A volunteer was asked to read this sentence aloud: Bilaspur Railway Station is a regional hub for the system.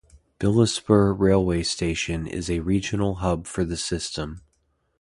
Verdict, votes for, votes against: accepted, 2, 0